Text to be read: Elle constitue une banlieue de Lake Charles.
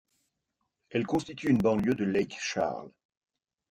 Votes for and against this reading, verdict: 2, 1, accepted